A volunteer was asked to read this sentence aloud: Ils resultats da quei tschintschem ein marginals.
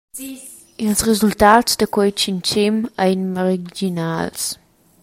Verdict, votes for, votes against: rejected, 1, 2